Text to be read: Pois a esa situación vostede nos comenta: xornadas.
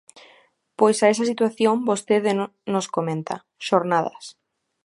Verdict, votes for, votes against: rejected, 0, 3